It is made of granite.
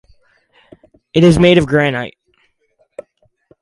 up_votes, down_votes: 4, 0